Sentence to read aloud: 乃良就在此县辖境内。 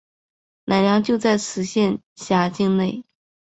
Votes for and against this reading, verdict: 2, 1, accepted